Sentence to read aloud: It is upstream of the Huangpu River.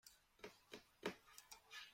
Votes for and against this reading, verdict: 0, 2, rejected